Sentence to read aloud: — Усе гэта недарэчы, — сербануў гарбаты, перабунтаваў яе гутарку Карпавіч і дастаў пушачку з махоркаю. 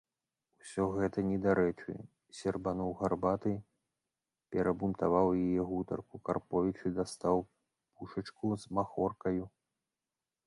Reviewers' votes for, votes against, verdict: 1, 2, rejected